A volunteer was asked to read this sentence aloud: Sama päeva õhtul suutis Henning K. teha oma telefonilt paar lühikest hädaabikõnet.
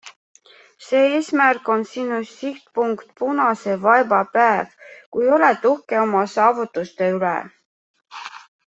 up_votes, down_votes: 0, 2